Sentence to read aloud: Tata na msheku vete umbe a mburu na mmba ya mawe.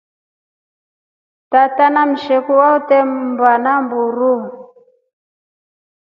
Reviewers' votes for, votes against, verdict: 3, 4, rejected